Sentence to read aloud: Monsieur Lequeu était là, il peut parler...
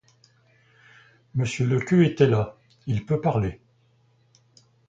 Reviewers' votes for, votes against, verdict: 2, 0, accepted